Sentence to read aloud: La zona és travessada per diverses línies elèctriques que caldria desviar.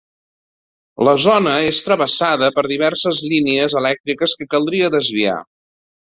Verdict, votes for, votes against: accepted, 2, 0